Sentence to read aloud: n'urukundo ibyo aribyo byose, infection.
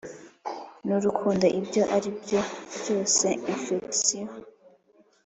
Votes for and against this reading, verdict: 3, 0, accepted